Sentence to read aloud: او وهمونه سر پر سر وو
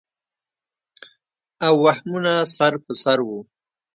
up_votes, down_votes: 2, 0